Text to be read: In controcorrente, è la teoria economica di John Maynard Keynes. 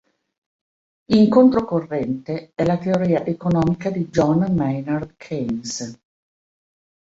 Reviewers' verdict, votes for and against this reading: rejected, 1, 2